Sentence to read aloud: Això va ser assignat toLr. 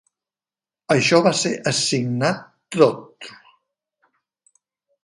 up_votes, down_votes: 2, 1